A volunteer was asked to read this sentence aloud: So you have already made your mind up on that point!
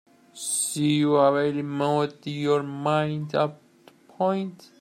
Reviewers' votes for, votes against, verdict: 0, 2, rejected